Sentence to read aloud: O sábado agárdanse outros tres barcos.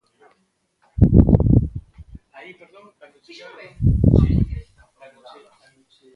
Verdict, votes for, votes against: rejected, 0, 2